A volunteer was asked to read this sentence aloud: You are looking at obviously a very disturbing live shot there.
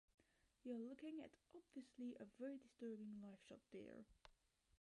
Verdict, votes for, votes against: accepted, 2, 1